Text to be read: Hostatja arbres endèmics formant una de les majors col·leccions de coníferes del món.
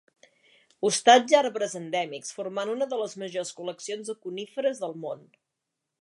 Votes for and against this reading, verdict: 2, 0, accepted